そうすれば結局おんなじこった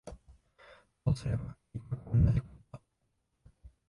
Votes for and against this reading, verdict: 0, 3, rejected